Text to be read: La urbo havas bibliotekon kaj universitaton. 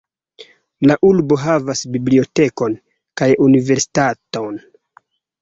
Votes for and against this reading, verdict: 2, 3, rejected